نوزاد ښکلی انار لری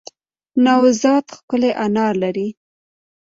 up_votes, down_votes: 2, 1